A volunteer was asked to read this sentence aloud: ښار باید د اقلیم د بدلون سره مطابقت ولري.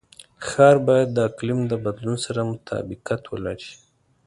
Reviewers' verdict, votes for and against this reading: accepted, 2, 0